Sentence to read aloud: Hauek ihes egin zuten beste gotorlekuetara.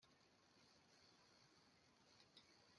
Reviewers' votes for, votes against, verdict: 0, 2, rejected